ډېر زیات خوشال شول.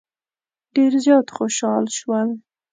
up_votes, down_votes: 2, 0